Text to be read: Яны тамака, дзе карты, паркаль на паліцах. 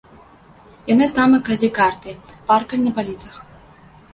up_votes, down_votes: 2, 3